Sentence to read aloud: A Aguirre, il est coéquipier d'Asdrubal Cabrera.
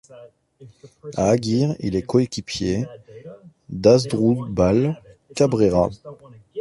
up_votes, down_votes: 2, 1